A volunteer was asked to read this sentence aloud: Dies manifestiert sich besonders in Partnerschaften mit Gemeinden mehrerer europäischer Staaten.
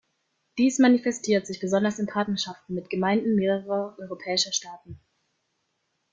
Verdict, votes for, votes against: rejected, 0, 2